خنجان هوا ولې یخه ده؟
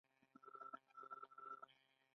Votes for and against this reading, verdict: 1, 2, rejected